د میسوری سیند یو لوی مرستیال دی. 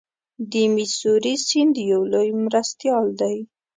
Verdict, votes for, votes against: accepted, 2, 0